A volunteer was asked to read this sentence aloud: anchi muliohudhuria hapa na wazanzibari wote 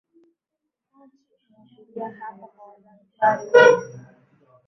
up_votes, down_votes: 1, 2